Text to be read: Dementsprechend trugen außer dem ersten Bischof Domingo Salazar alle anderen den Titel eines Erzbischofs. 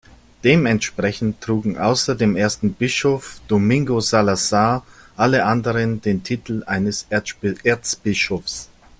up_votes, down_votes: 0, 2